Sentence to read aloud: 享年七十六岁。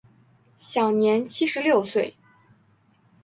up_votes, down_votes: 7, 0